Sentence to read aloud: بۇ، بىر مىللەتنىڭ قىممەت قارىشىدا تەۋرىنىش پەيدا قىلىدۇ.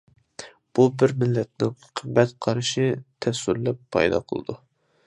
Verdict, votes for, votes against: rejected, 0, 2